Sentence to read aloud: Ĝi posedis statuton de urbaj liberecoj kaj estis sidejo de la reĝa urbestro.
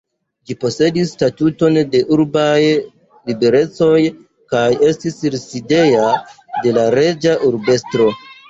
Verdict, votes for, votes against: rejected, 1, 2